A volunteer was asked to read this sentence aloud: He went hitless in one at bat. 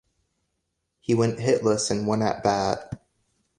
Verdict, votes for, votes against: accepted, 2, 1